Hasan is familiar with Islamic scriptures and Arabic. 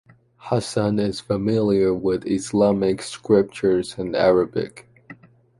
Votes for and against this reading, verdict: 2, 0, accepted